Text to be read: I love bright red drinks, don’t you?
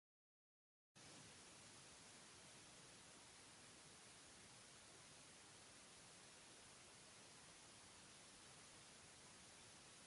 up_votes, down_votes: 0, 2